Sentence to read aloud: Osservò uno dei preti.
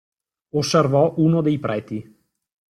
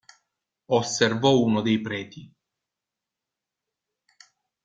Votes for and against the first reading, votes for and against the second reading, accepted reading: 1, 2, 2, 0, second